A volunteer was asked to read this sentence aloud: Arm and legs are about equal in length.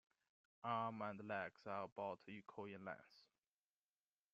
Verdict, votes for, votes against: accepted, 2, 0